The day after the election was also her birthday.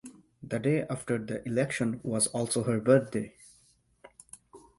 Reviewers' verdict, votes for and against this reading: accepted, 4, 0